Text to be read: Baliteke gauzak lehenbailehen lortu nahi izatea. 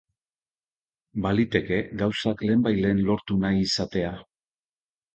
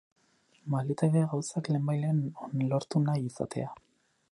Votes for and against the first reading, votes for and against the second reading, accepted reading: 3, 0, 2, 2, first